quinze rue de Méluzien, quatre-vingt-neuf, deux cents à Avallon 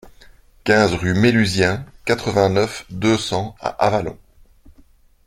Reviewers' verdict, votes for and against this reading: rejected, 1, 2